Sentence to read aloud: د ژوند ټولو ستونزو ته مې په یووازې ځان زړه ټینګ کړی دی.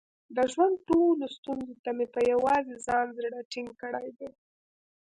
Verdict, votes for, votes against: accepted, 2, 0